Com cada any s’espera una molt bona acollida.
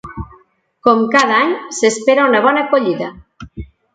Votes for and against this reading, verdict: 0, 2, rejected